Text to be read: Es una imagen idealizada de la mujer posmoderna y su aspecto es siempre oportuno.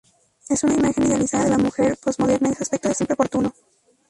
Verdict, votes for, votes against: rejected, 0, 2